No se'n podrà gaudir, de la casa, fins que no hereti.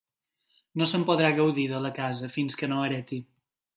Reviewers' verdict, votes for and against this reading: accepted, 3, 0